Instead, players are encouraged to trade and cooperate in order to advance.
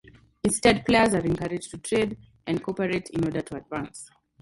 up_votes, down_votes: 2, 0